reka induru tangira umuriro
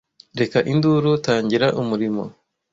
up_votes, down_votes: 1, 2